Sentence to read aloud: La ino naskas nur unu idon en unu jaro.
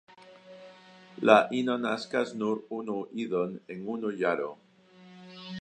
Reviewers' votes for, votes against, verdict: 0, 2, rejected